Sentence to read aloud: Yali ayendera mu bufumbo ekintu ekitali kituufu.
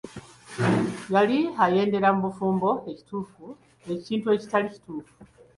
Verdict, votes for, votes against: rejected, 0, 2